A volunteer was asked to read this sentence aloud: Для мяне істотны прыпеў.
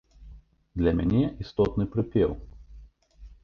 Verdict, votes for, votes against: accepted, 2, 0